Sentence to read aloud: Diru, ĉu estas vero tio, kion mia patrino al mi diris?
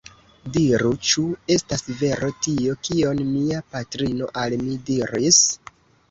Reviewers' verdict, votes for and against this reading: rejected, 0, 2